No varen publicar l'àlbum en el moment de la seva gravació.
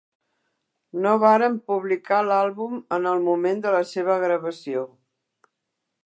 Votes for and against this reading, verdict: 3, 0, accepted